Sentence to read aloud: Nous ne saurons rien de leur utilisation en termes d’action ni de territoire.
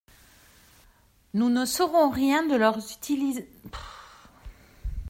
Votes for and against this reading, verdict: 0, 2, rejected